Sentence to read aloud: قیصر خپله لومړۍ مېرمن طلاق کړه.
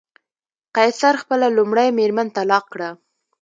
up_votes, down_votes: 0, 2